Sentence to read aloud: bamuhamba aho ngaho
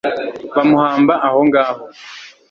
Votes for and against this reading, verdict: 2, 0, accepted